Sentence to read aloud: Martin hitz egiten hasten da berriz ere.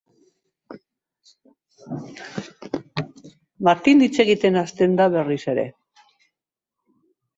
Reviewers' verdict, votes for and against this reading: accepted, 2, 0